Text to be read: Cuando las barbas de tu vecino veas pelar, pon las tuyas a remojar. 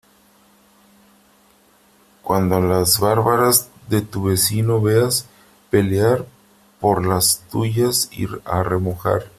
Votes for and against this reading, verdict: 0, 3, rejected